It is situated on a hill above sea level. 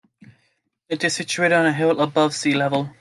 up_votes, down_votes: 2, 0